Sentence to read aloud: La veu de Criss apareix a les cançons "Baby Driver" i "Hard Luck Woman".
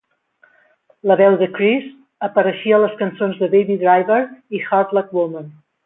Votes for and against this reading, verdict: 0, 2, rejected